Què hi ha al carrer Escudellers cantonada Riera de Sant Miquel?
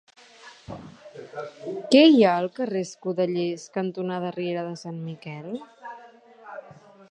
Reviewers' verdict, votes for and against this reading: rejected, 1, 2